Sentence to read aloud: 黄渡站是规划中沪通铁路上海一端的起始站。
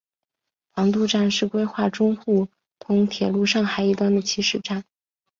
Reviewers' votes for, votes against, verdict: 2, 1, accepted